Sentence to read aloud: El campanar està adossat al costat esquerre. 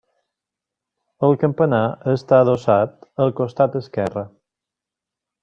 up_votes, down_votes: 3, 0